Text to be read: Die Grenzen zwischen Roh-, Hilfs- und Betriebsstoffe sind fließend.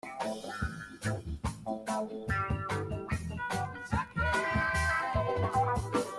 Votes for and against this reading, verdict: 0, 2, rejected